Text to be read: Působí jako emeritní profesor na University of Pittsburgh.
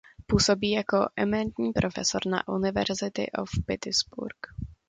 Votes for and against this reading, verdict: 1, 2, rejected